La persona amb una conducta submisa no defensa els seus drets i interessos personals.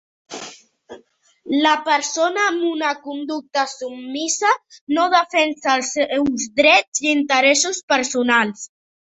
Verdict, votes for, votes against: accepted, 2, 1